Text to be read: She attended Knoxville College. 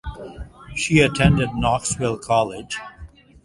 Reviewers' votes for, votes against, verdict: 2, 0, accepted